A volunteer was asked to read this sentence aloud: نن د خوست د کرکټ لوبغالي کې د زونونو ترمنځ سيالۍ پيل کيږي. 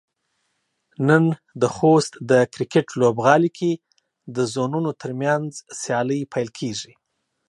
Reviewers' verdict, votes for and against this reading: accepted, 2, 1